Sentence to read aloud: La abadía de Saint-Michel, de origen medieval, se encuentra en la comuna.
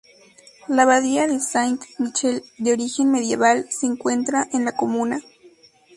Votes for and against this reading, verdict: 0, 2, rejected